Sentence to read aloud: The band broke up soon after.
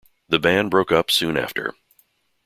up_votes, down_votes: 2, 0